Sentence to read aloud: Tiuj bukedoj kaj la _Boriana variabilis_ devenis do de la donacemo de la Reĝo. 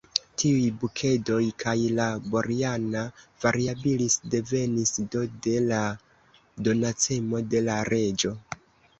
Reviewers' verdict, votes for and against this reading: rejected, 0, 2